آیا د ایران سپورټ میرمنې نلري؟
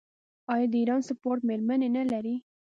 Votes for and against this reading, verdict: 2, 0, accepted